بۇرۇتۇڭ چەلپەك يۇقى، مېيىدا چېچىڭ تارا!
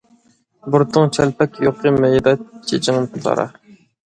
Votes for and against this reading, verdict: 1, 2, rejected